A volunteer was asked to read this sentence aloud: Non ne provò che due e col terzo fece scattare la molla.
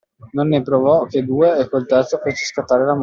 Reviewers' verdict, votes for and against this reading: rejected, 0, 2